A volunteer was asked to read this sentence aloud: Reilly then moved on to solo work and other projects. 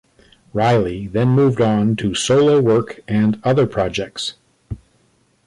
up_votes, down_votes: 1, 2